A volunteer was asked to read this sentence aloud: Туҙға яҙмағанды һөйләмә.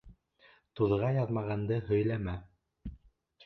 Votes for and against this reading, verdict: 2, 0, accepted